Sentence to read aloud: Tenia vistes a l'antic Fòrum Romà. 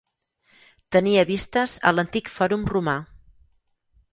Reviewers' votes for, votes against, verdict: 4, 0, accepted